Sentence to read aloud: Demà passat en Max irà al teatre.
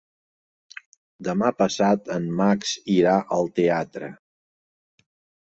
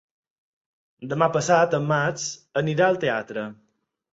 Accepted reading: first